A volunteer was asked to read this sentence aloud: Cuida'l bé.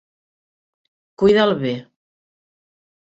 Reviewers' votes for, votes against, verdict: 2, 0, accepted